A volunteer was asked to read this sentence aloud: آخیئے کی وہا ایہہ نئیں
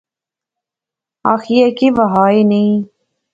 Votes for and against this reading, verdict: 2, 0, accepted